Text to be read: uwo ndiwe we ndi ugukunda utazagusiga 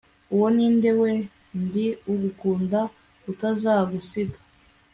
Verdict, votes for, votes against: accepted, 2, 0